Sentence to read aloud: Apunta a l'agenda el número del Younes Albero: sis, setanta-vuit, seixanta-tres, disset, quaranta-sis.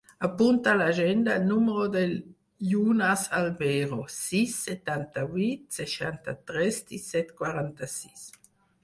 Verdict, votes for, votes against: rejected, 2, 4